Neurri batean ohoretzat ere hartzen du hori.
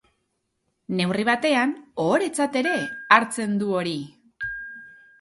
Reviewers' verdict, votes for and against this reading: rejected, 0, 2